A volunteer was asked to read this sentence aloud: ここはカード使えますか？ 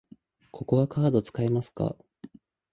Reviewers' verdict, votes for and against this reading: accepted, 2, 0